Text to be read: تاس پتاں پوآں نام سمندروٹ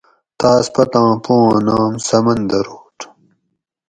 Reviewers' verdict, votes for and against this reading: accepted, 4, 0